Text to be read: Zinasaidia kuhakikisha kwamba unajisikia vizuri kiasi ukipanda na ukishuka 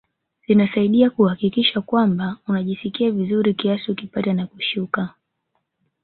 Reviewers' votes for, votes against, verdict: 3, 2, accepted